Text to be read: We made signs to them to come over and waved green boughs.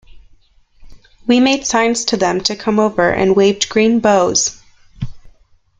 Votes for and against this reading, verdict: 0, 2, rejected